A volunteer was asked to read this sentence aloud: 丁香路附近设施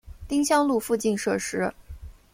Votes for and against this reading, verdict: 1, 2, rejected